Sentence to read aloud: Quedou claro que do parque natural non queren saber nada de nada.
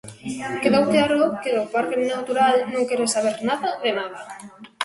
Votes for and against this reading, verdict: 1, 2, rejected